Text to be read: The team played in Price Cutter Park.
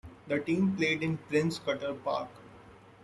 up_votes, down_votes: 1, 2